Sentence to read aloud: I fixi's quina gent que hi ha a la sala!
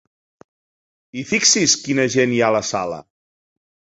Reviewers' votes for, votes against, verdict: 0, 4, rejected